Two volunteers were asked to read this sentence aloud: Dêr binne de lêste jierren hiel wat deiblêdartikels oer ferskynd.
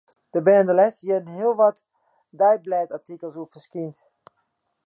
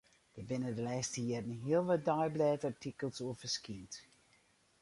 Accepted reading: first